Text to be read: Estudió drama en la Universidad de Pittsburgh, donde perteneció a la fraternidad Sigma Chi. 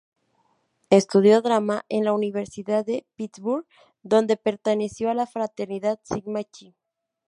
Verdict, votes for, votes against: rejected, 2, 2